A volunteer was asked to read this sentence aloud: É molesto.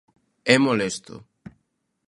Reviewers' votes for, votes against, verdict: 2, 0, accepted